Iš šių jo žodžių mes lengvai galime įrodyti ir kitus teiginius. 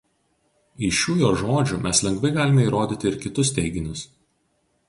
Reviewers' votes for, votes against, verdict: 2, 0, accepted